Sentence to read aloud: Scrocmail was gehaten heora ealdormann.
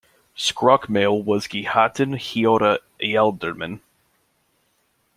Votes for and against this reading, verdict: 2, 0, accepted